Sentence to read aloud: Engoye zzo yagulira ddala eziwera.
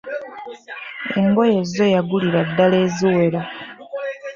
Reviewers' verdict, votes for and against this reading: accepted, 2, 1